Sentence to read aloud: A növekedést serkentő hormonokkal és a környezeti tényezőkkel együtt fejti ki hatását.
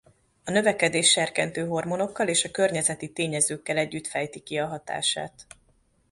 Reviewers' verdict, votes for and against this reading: rejected, 1, 2